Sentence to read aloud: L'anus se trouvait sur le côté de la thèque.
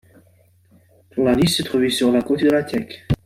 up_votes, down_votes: 2, 1